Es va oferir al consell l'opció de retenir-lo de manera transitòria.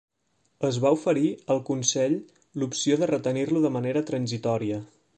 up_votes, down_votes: 1, 2